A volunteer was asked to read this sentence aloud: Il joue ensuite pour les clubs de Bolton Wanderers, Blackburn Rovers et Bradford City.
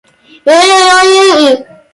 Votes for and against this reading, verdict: 0, 2, rejected